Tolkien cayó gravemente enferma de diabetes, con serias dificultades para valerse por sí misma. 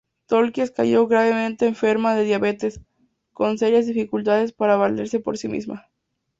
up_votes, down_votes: 2, 0